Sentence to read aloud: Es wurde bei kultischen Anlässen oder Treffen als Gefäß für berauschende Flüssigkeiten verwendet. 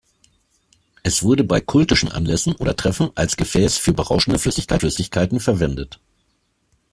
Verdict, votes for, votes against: rejected, 0, 2